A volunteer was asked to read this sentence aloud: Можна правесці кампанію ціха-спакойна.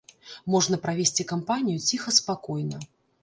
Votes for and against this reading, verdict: 2, 0, accepted